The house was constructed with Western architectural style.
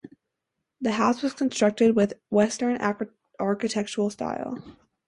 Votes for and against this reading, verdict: 0, 2, rejected